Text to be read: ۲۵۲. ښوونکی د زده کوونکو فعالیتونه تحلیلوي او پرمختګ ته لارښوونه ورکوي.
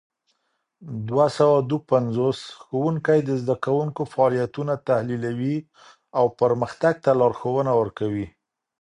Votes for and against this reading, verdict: 0, 2, rejected